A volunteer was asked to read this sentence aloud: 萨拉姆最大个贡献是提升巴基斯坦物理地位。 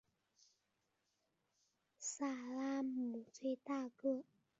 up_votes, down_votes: 0, 4